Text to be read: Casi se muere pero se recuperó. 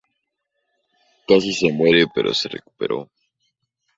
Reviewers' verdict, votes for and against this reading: rejected, 0, 2